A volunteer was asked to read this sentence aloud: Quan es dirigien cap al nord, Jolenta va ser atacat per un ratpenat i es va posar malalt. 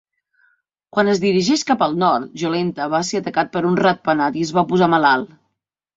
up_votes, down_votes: 0, 2